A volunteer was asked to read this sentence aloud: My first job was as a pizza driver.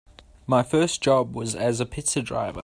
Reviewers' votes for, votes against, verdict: 0, 2, rejected